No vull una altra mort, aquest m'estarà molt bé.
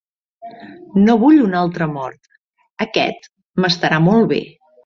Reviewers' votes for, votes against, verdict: 2, 0, accepted